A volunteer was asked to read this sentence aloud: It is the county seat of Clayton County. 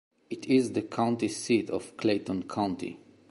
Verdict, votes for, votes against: accepted, 2, 0